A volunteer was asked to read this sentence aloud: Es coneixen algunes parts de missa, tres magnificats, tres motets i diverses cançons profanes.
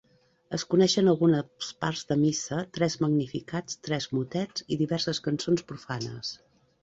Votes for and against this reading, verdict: 1, 2, rejected